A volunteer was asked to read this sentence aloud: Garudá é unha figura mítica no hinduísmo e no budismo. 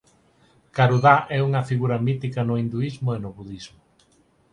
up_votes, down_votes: 4, 0